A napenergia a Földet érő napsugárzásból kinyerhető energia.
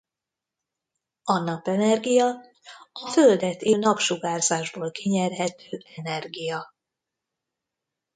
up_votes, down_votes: 0, 2